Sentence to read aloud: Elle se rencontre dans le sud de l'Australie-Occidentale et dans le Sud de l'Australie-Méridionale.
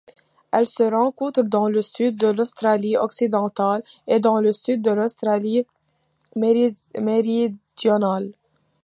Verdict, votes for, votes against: accepted, 2, 1